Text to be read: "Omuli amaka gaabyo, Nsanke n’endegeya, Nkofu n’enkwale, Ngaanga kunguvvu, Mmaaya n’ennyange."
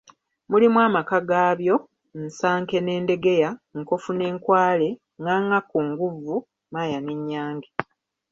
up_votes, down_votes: 1, 2